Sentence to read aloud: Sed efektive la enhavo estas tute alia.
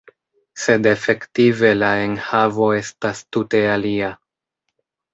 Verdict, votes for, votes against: accepted, 2, 0